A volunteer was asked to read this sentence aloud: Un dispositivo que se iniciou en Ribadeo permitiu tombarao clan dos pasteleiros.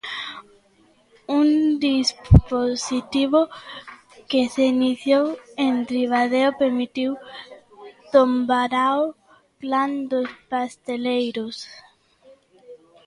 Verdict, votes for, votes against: rejected, 0, 2